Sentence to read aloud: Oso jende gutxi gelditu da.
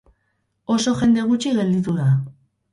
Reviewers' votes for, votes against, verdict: 2, 2, rejected